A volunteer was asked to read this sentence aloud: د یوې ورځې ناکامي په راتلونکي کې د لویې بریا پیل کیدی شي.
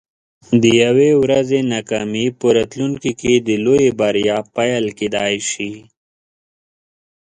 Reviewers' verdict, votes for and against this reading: accepted, 2, 0